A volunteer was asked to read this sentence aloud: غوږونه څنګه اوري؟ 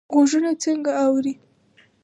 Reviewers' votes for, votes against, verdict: 4, 0, accepted